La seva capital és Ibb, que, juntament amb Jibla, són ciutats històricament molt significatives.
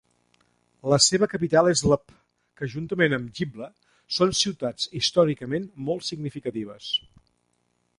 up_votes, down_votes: 1, 2